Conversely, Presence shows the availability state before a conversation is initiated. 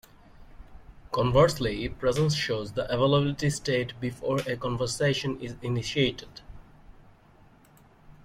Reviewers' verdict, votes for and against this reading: accepted, 2, 0